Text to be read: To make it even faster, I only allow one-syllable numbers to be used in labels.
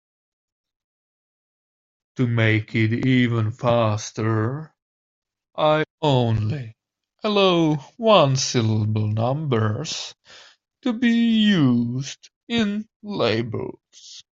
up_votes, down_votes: 2, 0